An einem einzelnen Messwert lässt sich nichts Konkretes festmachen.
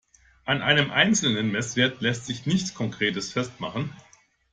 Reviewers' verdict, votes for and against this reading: accepted, 2, 0